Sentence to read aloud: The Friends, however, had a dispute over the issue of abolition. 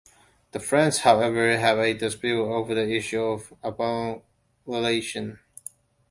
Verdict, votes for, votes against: rejected, 0, 2